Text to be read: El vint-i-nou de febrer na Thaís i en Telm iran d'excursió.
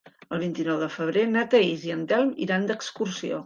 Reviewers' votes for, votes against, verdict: 3, 0, accepted